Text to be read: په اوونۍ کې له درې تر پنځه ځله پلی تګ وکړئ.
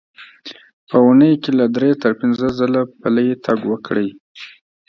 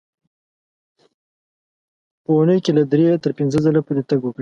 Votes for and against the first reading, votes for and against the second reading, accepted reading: 2, 0, 1, 2, first